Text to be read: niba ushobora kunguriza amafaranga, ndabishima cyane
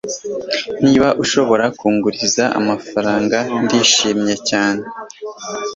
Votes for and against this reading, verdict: 1, 2, rejected